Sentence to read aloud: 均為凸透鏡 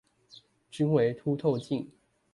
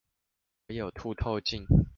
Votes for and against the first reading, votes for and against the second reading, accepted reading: 2, 0, 0, 2, first